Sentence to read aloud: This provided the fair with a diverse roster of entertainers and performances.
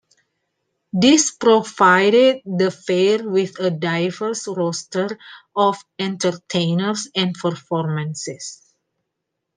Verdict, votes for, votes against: accepted, 2, 0